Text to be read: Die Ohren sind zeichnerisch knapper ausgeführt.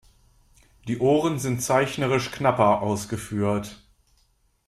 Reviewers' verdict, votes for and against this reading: accepted, 3, 0